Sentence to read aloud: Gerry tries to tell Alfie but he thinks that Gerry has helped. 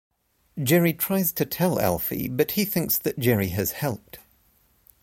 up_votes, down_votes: 2, 0